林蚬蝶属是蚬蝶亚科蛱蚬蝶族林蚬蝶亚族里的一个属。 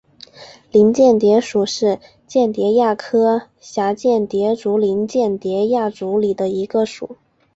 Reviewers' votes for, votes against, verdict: 3, 1, accepted